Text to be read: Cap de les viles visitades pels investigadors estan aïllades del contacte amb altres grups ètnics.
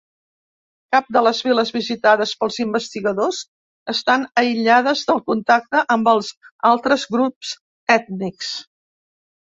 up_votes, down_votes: 1, 2